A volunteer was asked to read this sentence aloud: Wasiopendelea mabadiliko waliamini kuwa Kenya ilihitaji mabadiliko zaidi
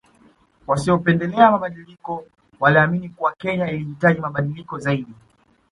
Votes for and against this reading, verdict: 2, 0, accepted